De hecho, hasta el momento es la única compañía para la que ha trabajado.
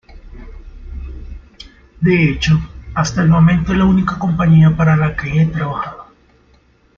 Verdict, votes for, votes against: rejected, 1, 2